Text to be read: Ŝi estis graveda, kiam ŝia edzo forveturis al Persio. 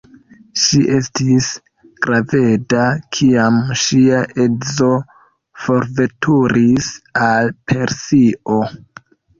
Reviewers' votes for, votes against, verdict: 0, 2, rejected